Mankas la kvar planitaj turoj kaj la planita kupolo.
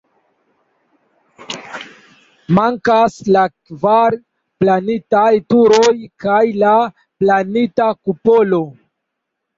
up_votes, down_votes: 2, 0